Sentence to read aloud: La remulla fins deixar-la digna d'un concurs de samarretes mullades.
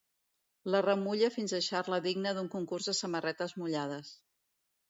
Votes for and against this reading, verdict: 2, 0, accepted